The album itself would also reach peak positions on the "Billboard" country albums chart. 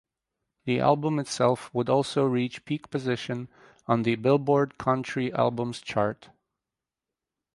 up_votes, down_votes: 0, 4